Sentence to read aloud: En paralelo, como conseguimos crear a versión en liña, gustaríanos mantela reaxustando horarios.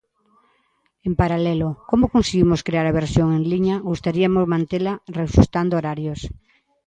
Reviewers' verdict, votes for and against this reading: rejected, 0, 2